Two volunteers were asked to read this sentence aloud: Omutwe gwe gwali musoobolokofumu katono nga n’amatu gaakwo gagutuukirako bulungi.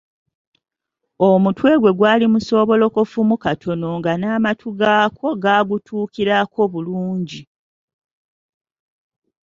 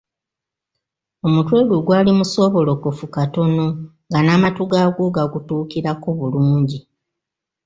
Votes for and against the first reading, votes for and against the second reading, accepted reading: 2, 0, 1, 2, first